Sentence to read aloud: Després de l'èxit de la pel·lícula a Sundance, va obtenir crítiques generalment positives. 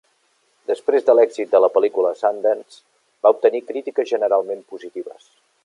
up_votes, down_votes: 2, 0